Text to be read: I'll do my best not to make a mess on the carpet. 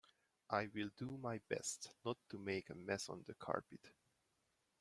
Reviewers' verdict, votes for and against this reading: accepted, 2, 0